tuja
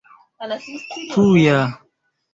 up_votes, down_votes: 1, 2